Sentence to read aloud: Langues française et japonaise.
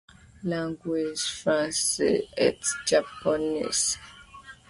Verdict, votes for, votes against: rejected, 0, 2